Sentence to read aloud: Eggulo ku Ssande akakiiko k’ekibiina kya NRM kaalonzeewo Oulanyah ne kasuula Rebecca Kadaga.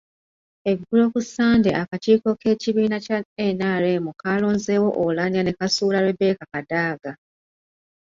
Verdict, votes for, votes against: accepted, 2, 0